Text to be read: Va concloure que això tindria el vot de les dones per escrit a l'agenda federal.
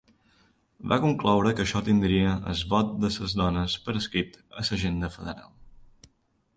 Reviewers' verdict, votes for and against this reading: rejected, 1, 2